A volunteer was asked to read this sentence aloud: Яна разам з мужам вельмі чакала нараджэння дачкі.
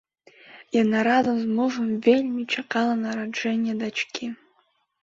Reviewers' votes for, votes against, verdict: 2, 0, accepted